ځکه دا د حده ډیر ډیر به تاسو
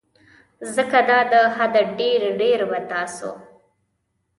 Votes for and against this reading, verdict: 2, 0, accepted